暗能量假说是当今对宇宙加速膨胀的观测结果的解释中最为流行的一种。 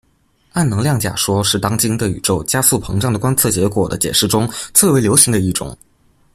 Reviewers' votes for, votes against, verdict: 2, 0, accepted